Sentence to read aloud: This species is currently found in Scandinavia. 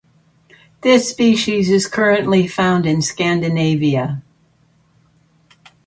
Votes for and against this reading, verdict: 2, 0, accepted